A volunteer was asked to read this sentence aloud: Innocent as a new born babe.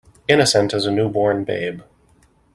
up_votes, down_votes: 2, 1